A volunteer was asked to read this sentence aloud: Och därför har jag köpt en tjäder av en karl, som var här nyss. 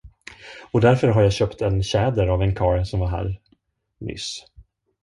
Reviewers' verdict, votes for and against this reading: rejected, 0, 2